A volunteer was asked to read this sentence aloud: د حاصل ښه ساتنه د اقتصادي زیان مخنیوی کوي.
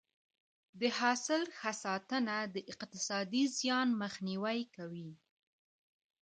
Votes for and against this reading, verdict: 2, 1, accepted